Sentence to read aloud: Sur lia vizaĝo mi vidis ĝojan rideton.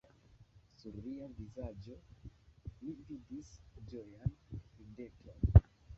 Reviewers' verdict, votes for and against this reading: rejected, 0, 2